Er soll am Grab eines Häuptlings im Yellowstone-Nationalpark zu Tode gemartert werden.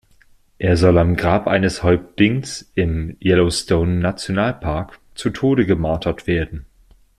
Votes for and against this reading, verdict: 3, 2, accepted